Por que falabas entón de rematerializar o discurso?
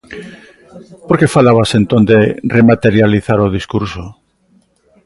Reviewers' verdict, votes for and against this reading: accepted, 2, 0